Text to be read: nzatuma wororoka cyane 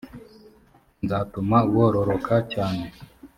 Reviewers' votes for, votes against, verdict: 2, 0, accepted